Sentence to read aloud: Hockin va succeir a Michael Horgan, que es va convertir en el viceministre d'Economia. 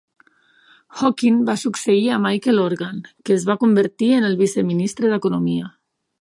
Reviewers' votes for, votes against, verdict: 2, 0, accepted